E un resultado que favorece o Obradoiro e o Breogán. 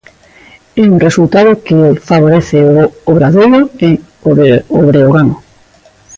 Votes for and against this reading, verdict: 1, 2, rejected